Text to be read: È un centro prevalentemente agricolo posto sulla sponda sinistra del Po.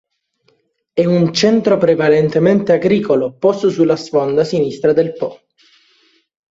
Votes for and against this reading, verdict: 2, 0, accepted